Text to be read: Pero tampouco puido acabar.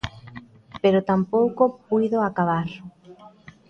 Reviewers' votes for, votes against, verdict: 2, 0, accepted